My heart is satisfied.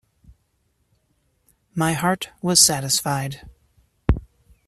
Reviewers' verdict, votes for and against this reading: rejected, 0, 2